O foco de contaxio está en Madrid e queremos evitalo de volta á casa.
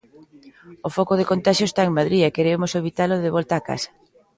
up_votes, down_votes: 2, 0